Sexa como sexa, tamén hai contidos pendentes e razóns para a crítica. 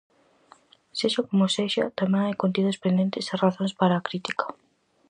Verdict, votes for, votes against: accepted, 4, 0